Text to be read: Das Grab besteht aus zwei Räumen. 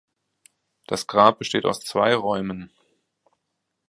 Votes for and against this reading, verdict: 2, 0, accepted